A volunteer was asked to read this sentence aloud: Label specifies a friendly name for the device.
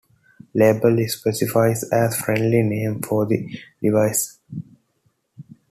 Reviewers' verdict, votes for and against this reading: accepted, 2, 1